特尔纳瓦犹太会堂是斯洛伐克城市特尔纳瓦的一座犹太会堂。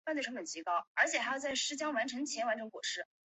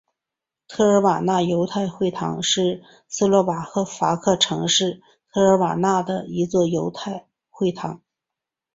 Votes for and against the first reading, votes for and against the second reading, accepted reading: 1, 2, 2, 0, second